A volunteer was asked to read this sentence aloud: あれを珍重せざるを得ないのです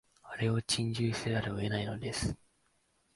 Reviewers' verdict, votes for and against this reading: rejected, 1, 2